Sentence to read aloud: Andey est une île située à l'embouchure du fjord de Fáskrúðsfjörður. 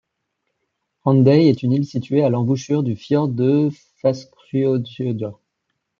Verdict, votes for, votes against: rejected, 1, 2